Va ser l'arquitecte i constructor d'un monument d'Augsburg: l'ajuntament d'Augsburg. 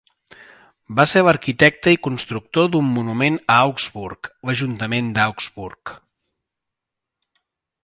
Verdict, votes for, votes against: rejected, 1, 2